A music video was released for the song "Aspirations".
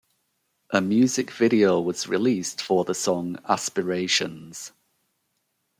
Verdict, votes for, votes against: accepted, 2, 0